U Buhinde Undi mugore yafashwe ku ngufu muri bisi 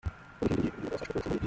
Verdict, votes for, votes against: rejected, 0, 3